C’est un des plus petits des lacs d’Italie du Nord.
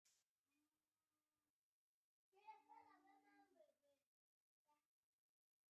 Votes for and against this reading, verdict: 1, 2, rejected